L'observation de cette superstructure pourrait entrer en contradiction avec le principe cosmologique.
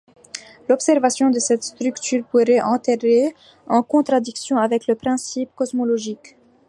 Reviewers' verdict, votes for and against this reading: rejected, 1, 2